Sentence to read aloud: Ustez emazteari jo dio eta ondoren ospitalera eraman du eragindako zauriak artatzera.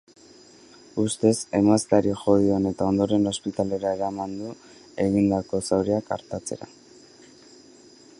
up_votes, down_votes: 1, 2